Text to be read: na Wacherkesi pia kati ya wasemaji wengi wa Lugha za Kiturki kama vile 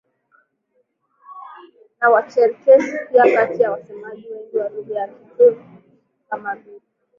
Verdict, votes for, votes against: accepted, 2, 1